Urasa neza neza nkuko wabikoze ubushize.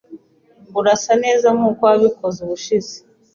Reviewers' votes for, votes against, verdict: 1, 3, rejected